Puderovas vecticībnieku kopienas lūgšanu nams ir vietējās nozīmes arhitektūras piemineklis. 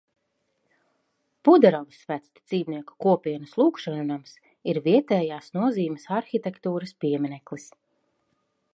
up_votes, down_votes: 2, 0